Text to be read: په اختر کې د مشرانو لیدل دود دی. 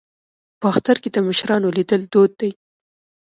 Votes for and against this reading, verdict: 2, 0, accepted